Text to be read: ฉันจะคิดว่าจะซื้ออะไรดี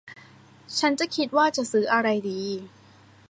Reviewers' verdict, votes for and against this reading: rejected, 1, 2